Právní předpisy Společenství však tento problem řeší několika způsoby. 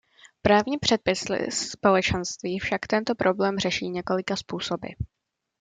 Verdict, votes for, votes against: rejected, 0, 2